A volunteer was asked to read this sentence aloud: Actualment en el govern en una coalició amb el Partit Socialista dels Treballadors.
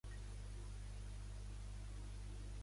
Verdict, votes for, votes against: rejected, 0, 3